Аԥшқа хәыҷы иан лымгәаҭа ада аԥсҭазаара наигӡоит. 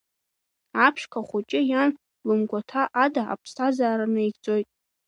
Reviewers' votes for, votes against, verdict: 2, 0, accepted